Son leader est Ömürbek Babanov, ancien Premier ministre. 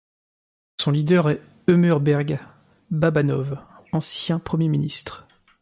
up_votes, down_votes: 0, 2